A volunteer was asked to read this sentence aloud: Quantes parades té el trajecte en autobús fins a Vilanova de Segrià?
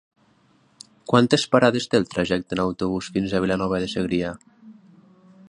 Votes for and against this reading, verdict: 6, 0, accepted